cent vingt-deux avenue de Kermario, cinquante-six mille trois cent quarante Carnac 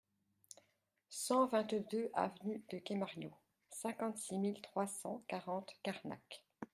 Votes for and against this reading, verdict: 1, 2, rejected